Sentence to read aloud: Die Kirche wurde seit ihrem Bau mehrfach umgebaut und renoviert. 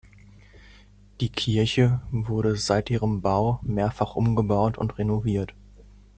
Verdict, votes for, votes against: accepted, 2, 0